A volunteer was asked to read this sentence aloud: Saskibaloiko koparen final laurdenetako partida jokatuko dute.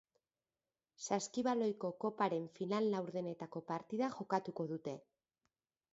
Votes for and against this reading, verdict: 2, 0, accepted